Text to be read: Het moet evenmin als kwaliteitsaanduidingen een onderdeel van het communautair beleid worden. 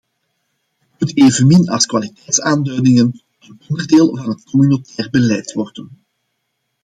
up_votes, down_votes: 0, 2